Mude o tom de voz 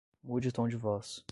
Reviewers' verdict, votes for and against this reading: accepted, 10, 0